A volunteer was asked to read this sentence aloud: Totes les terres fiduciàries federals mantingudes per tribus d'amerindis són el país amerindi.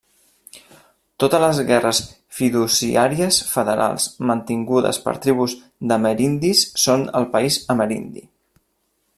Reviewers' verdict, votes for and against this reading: rejected, 1, 2